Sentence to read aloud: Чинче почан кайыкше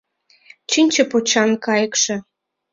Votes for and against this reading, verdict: 2, 0, accepted